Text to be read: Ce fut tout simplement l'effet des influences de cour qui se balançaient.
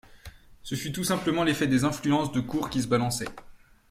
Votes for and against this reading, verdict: 2, 0, accepted